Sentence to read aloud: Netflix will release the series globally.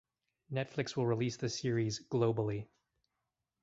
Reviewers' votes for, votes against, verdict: 4, 0, accepted